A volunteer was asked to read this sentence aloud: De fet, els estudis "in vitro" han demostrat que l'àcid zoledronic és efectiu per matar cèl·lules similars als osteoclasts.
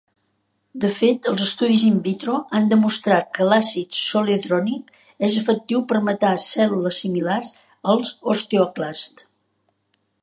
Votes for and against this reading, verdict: 1, 2, rejected